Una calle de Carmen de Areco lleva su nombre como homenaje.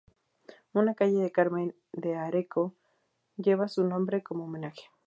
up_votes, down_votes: 4, 0